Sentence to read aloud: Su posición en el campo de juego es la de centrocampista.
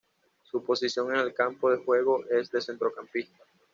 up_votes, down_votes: 1, 2